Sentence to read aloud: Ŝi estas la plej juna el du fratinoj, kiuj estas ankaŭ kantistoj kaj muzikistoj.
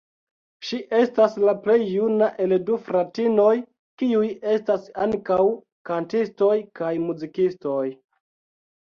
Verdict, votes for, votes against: accepted, 2, 0